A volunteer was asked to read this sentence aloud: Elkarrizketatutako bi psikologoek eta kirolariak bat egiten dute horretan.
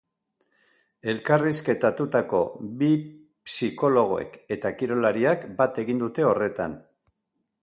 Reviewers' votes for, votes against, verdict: 0, 2, rejected